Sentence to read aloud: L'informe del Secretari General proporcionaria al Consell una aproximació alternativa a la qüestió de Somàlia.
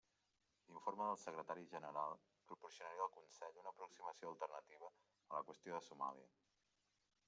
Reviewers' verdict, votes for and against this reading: accepted, 2, 0